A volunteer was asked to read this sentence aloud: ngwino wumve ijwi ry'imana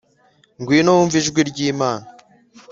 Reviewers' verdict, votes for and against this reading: accepted, 2, 0